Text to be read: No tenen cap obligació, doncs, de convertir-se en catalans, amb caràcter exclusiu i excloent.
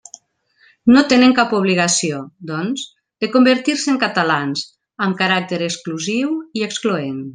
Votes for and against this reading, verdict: 3, 0, accepted